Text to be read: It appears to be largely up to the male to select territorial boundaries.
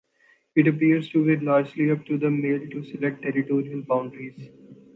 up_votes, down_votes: 2, 0